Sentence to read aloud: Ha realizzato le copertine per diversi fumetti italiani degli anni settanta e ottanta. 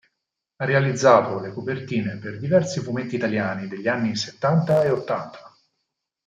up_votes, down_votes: 4, 0